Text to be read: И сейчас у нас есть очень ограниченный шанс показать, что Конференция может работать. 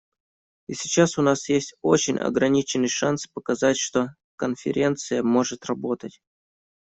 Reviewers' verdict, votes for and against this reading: accepted, 2, 0